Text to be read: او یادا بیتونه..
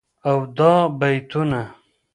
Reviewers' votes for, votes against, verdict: 0, 2, rejected